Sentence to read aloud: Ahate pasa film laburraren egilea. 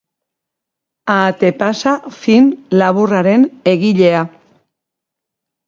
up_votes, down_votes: 2, 0